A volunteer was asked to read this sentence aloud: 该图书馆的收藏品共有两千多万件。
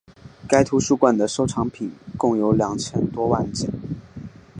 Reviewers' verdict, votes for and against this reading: accepted, 2, 0